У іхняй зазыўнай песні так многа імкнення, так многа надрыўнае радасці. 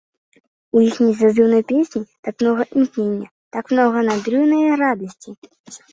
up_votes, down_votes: 1, 2